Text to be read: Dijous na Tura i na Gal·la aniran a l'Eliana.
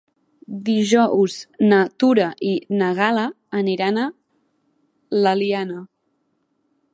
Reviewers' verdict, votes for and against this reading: accepted, 2, 0